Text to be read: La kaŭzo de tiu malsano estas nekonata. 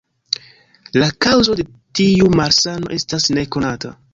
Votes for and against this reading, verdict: 0, 2, rejected